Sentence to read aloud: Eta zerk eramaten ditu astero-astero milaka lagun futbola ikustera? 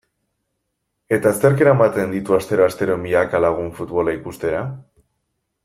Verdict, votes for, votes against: accepted, 2, 0